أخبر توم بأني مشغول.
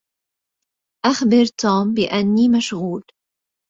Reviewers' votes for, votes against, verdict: 2, 0, accepted